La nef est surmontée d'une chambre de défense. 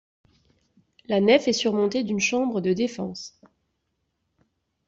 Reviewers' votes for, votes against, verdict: 2, 0, accepted